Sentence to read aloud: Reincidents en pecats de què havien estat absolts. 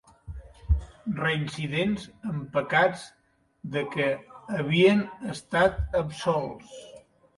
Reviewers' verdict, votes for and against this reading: accepted, 5, 1